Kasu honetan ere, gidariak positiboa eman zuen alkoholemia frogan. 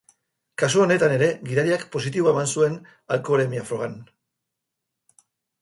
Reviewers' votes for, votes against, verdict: 2, 0, accepted